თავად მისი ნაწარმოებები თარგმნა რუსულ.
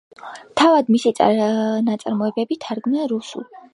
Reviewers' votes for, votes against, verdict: 2, 0, accepted